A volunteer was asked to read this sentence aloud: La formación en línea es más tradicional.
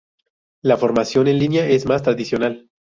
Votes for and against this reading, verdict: 0, 2, rejected